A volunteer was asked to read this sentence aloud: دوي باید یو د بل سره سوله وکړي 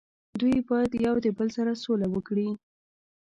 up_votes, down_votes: 2, 0